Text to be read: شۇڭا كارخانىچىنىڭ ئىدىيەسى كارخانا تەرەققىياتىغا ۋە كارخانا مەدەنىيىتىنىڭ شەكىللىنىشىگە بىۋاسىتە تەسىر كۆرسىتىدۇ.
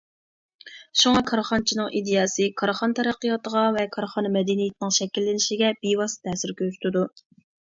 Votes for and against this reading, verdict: 2, 0, accepted